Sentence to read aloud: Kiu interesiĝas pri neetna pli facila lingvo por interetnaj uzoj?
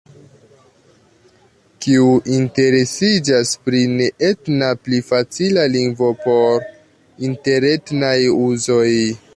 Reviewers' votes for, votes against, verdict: 2, 0, accepted